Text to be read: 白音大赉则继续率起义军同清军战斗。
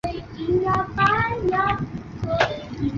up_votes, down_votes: 0, 3